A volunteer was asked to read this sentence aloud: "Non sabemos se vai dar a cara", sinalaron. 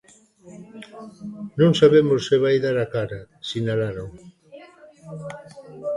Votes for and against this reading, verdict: 0, 2, rejected